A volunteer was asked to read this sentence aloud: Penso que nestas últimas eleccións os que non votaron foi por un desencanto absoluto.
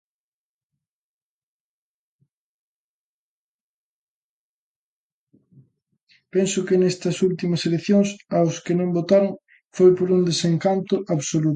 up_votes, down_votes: 0, 2